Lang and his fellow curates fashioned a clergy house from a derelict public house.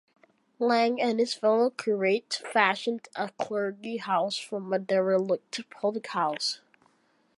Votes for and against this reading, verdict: 2, 1, accepted